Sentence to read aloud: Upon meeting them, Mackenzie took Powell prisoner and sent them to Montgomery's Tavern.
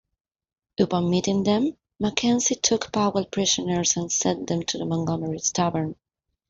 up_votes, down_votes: 0, 2